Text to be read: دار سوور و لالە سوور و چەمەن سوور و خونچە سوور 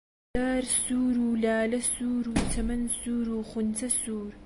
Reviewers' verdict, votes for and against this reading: accepted, 2, 0